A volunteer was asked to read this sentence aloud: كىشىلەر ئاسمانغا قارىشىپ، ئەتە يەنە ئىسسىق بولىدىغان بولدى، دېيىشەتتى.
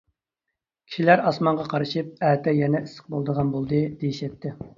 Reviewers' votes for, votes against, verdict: 3, 0, accepted